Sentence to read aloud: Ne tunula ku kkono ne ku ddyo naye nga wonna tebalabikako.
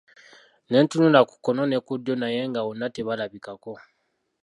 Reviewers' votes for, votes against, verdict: 2, 1, accepted